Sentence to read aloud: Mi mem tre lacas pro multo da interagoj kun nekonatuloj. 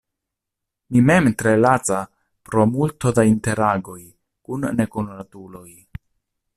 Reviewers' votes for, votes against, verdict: 0, 2, rejected